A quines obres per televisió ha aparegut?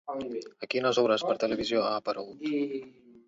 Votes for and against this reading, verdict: 0, 2, rejected